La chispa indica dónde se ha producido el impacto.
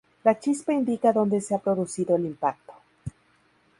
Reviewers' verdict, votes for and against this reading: accepted, 2, 0